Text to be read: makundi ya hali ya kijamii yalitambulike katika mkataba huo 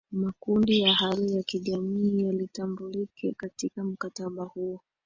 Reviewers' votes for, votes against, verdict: 2, 0, accepted